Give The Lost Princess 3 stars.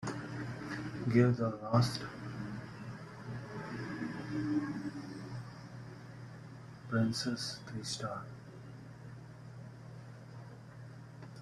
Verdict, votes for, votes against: rejected, 0, 2